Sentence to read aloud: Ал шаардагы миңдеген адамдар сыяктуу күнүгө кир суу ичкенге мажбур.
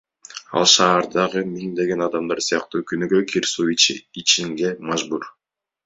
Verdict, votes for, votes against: rejected, 1, 2